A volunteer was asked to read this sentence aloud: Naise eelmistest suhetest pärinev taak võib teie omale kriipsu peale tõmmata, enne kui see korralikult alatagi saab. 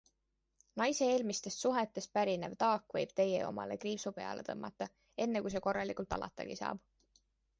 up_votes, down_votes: 2, 0